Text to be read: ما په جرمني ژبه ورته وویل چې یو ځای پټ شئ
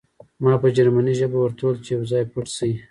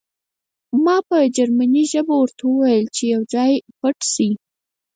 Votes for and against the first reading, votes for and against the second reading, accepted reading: 2, 1, 2, 4, first